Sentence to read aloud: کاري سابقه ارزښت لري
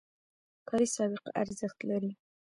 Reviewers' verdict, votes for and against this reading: rejected, 0, 2